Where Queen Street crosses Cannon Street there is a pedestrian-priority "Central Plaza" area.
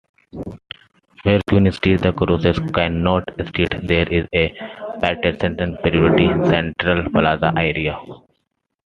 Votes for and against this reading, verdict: 2, 1, accepted